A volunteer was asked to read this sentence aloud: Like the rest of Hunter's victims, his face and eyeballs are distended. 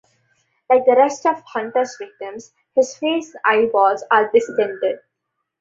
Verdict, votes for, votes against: rejected, 0, 2